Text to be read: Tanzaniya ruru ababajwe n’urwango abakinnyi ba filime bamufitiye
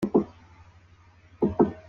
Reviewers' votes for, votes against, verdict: 0, 2, rejected